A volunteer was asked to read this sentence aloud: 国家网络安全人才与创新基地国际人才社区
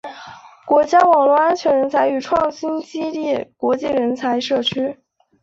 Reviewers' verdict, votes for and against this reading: accepted, 4, 1